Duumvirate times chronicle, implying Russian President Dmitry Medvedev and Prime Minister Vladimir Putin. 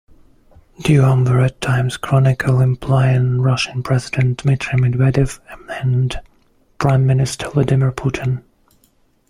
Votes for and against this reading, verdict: 1, 2, rejected